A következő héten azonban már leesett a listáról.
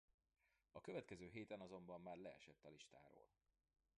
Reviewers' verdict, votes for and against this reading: rejected, 1, 2